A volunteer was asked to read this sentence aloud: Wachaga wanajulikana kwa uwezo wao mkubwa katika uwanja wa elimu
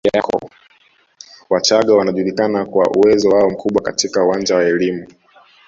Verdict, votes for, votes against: accepted, 2, 1